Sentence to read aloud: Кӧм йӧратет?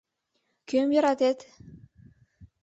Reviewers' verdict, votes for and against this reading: accepted, 2, 0